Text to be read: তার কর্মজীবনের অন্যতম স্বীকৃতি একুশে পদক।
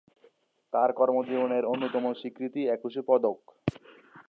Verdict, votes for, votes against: accepted, 2, 1